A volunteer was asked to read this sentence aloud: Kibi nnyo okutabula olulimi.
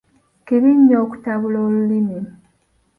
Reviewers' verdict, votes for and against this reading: rejected, 1, 2